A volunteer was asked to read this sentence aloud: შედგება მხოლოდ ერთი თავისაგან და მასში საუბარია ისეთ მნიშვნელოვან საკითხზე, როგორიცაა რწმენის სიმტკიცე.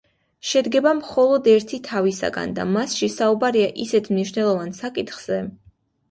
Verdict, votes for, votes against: rejected, 0, 2